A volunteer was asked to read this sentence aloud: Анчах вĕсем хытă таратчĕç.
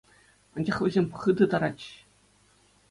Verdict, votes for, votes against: accepted, 2, 0